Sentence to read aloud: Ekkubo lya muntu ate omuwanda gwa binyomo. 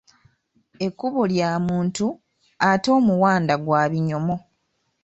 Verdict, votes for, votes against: accepted, 2, 0